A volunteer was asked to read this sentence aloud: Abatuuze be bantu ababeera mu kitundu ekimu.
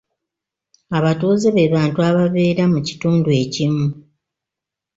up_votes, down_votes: 2, 0